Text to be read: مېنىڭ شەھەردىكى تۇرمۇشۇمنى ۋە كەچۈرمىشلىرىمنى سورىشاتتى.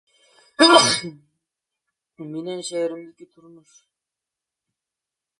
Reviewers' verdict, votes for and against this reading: rejected, 0, 2